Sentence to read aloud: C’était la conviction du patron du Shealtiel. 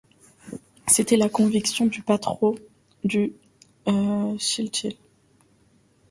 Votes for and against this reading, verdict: 0, 2, rejected